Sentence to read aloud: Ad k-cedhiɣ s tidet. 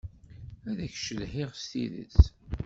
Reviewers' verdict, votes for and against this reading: rejected, 0, 2